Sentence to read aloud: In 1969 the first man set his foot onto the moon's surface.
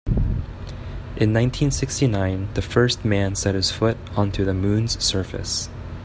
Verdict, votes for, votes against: rejected, 0, 2